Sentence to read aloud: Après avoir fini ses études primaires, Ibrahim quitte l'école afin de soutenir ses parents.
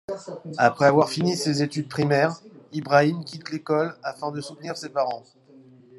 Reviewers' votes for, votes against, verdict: 2, 0, accepted